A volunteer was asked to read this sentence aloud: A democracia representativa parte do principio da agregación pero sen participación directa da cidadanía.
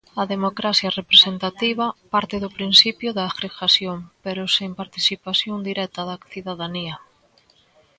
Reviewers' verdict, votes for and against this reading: rejected, 0, 2